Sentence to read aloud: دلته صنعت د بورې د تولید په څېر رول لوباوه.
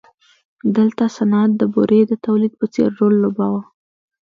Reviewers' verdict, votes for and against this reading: rejected, 1, 2